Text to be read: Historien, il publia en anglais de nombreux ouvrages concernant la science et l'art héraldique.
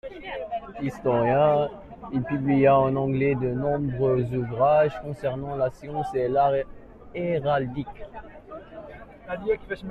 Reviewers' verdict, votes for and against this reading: accepted, 2, 1